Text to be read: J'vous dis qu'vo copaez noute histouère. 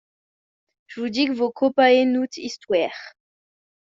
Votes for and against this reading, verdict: 1, 2, rejected